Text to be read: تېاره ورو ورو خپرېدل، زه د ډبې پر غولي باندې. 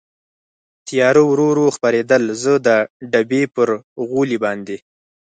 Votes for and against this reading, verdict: 4, 0, accepted